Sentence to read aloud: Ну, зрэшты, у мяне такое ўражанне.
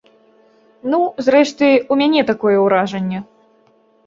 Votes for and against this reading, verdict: 2, 0, accepted